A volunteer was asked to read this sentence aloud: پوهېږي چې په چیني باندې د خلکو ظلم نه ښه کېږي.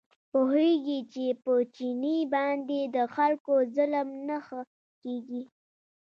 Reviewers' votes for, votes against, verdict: 1, 2, rejected